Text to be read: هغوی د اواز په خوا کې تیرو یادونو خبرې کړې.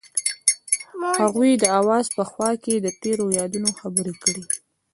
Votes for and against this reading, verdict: 0, 2, rejected